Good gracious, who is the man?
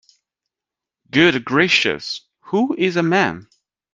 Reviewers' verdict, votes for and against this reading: rejected, 0, 2